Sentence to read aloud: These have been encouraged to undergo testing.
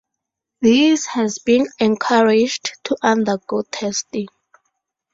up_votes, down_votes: 2, 2